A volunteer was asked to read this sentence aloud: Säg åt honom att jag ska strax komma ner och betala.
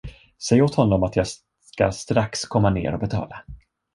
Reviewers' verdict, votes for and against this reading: rejected, 0, 2